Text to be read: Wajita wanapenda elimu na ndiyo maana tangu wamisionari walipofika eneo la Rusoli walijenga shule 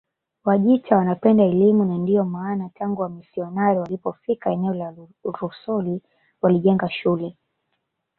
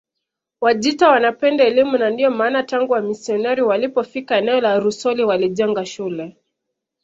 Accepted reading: second